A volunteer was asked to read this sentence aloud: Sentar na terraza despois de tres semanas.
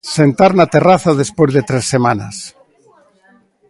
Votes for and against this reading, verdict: 2, 0, accepted